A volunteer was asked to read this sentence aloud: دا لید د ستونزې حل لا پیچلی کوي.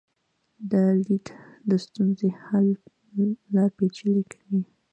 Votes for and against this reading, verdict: 2, 0, accepted